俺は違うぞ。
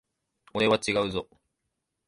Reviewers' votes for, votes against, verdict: 2, 0, accepted